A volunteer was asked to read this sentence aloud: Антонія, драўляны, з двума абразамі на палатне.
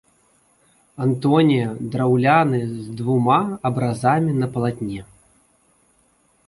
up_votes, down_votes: 2, 0